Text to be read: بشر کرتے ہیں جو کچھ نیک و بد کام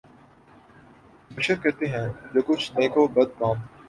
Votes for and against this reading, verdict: 2, 0, accepted